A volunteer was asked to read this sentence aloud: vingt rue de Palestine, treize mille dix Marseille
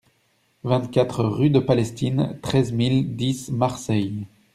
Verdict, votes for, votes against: rejected, 0, 2